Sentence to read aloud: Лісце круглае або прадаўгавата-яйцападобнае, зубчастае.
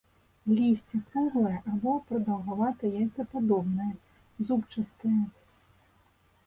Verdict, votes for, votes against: rejected, 1, 2